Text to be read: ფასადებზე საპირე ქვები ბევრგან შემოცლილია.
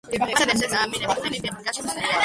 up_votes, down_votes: 0, 2